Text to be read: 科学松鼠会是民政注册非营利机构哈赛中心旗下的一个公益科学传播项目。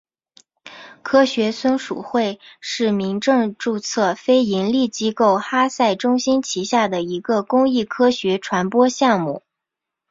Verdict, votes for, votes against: accepted, 3, 0